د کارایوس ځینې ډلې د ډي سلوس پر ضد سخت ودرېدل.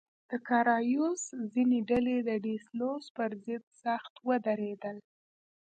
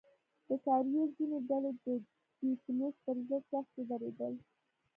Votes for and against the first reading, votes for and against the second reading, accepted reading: 2, 0, 1, 2, first